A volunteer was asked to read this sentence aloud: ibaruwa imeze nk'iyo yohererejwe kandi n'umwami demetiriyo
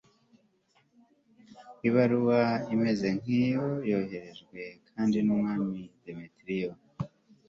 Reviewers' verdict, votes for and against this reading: accepted, 2, 1